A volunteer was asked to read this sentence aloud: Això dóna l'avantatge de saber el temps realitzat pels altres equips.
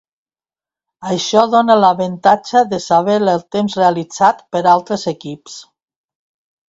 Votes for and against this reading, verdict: 1, 2, rejected